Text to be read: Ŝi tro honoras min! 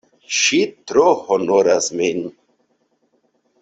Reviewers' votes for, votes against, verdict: 2, 0, accepted